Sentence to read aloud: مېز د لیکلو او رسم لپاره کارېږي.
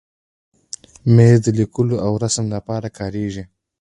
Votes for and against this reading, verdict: 1, 2, rejected